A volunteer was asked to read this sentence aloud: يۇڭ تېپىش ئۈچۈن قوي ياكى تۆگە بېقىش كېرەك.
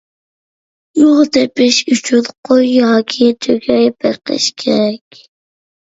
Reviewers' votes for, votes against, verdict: 1, 2, rejected